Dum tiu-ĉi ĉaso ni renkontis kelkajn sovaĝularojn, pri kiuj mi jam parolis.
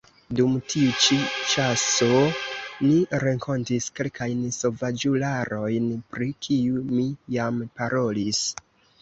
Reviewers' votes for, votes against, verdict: 1, 2, rejected